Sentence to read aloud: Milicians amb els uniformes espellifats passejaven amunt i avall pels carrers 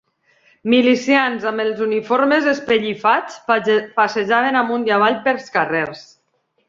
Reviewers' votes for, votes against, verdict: 0, 2, rejected